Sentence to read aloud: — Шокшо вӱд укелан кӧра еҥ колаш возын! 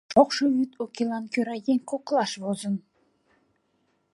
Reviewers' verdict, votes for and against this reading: rejected, 1, 2